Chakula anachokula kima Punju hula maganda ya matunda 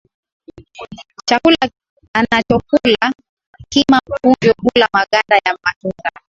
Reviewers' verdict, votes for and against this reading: accepted, 2, 0